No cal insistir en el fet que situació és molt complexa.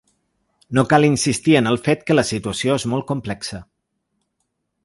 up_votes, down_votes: 1, 2